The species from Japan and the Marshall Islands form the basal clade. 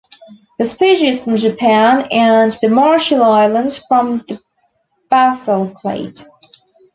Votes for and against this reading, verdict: 1, 2, rejected